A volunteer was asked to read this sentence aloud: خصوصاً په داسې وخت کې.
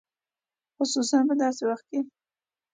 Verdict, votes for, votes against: accepted, 2, 0